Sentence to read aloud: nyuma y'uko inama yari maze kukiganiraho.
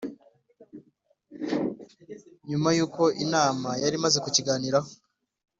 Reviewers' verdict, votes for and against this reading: accepted, 2, 0